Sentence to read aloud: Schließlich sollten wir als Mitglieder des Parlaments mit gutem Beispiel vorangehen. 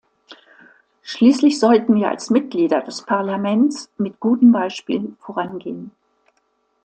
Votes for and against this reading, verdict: 2, 0, accepted